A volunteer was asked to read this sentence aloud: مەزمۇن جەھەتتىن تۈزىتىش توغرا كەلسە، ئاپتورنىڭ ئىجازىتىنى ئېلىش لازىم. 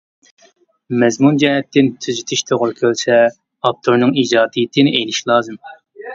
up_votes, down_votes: 0, 2